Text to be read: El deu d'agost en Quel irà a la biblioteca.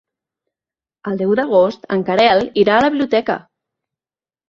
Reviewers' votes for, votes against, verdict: 0, 2, rejected